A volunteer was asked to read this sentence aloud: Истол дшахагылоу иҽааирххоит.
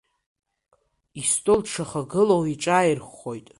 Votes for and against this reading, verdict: 0, 2, rejected